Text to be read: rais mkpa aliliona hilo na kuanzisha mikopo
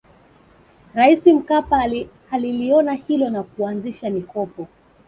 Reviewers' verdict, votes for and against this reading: rejected, 1, 2